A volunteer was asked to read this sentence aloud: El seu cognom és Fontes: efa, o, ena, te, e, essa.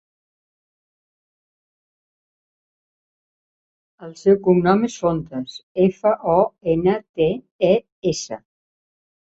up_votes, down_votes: 2, 1